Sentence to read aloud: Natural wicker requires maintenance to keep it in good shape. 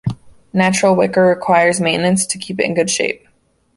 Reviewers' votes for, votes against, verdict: 2, 1, accepted